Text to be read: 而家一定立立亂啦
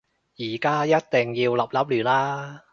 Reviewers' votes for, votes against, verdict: 0, 2, rejected